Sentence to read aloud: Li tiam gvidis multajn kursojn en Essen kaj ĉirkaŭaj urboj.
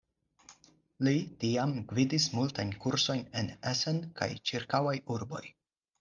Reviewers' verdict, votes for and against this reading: accepted, 4, 0